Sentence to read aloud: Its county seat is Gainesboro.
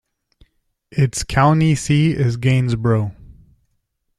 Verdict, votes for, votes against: accepted, 2, 0